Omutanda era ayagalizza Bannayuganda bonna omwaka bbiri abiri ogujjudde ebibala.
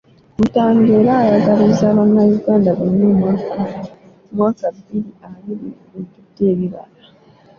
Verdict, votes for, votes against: rejected, 0, 3